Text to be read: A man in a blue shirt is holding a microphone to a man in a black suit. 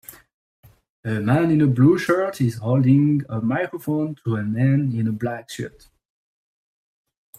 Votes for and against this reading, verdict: 3, 0, accepted